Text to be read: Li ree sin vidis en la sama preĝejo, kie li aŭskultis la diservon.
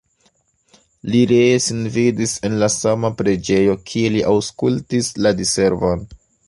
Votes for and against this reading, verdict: 2, 1, accepted